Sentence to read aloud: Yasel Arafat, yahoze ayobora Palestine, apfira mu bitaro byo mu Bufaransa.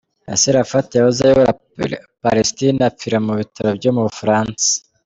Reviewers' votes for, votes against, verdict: 1, 2, rejected